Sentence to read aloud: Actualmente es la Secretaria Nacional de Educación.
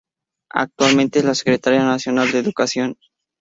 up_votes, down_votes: 2, 0